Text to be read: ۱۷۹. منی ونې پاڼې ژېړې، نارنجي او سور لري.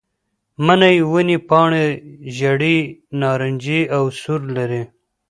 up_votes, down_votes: 0, 2